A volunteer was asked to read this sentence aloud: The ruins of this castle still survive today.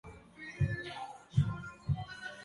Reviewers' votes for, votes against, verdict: 0, 2, rejected